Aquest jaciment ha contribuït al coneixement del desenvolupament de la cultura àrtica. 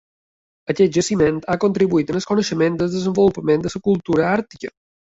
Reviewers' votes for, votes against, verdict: 1, 2, rejected